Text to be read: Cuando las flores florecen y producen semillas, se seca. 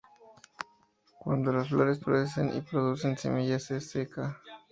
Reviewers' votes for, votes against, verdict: 2, 0, accepted